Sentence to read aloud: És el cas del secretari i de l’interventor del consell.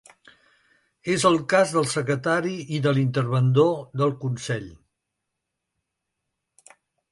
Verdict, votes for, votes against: rejected, 0, 2